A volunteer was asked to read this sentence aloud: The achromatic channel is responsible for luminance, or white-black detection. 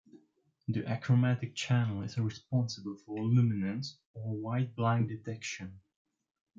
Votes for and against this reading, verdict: 2, 1, accepted